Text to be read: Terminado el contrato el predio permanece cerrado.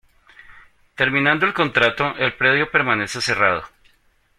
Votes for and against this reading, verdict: 0, 2, rejected